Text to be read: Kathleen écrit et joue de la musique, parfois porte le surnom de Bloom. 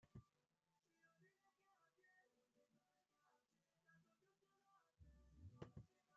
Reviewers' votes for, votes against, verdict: 0, 2, rejected